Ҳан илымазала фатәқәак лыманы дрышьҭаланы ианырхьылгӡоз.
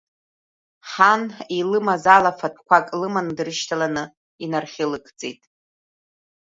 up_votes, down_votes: 1, 2